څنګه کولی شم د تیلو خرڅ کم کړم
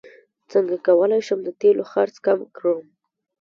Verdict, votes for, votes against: rejected, 0, 2